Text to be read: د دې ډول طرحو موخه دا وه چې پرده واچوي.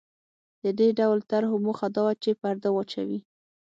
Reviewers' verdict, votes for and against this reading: accepted, 6, 0